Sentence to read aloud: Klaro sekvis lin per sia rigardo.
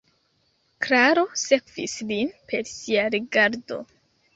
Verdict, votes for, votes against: rejected, 2, 3